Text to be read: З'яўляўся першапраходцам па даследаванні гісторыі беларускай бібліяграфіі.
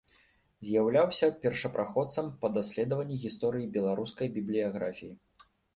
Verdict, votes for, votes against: accepted, 2, 0